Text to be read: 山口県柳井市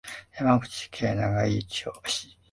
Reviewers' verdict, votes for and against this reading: rejected, 0, 2